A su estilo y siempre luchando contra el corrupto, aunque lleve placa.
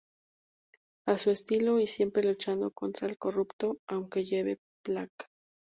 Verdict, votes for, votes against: rejected, 2, 2